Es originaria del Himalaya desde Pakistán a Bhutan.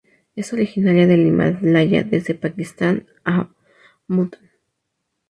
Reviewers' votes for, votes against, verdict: 0, 2, rejected